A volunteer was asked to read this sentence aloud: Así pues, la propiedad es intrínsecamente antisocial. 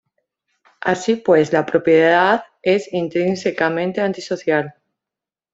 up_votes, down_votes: 2, 0